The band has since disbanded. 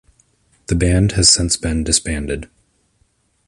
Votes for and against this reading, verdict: 1, 2, rejected